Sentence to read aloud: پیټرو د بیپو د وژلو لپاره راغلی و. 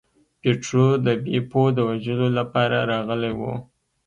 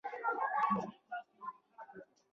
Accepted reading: first